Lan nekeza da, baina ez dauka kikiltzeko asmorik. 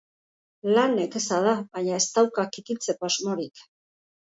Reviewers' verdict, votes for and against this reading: accepted, 2, 0